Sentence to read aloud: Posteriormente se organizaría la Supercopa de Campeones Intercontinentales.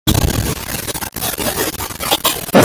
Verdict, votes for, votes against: rejected, 0, 2